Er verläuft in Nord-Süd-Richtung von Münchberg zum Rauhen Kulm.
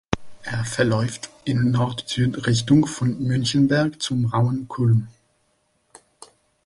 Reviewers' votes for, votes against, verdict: 0, 2, rejected